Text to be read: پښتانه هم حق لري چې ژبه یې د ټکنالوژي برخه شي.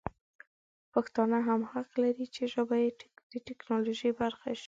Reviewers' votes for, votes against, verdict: 2, 1, accepted